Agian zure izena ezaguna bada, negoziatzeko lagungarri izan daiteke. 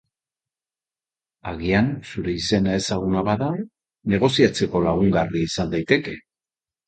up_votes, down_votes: 2, 0